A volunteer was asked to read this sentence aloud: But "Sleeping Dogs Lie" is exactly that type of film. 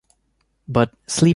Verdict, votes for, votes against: rejected, 0, 2